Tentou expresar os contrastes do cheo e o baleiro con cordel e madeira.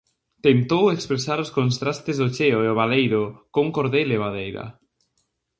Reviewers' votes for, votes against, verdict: 0, 2, rejected